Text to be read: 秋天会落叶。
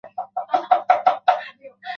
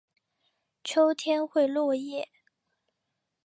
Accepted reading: second